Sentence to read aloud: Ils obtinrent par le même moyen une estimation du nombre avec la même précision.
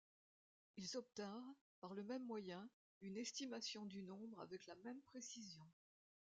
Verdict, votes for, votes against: rejected, 1, 2